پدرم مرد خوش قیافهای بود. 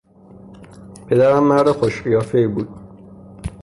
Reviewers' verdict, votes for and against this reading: rejected, 0, 3